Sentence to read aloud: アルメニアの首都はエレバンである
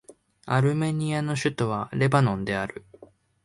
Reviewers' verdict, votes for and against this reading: rejected, 0, 2